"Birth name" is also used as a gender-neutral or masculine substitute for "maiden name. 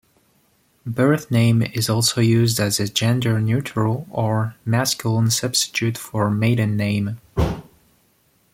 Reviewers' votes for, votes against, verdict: 1, 2, rejected